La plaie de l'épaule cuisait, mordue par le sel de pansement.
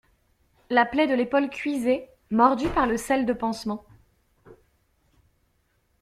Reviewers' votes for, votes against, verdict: 2, 0, accepted